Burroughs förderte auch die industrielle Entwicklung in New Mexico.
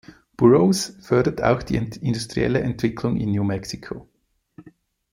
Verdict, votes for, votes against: accepted, 2, 0